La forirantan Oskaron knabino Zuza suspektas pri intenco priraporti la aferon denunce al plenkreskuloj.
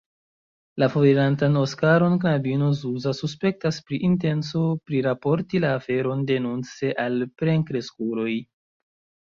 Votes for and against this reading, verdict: 0, 2, rejected